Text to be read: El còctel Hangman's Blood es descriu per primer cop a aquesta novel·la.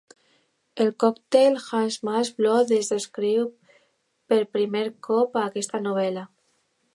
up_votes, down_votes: 2, 0